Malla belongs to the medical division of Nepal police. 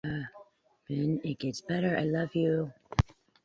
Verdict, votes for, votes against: rejected, 0, 2